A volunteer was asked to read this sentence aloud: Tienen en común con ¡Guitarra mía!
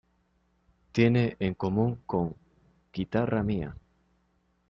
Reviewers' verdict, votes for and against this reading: accepted, 2, 0